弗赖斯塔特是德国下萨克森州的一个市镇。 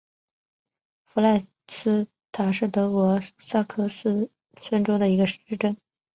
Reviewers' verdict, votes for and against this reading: accepted, 7, 0